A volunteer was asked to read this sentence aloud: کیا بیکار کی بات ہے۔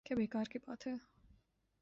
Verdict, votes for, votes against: rejected, 1, 2